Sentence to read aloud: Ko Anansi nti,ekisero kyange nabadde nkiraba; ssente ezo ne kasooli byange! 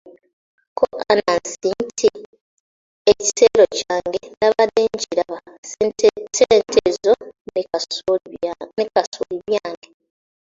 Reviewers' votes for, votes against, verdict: 1, 2, rejected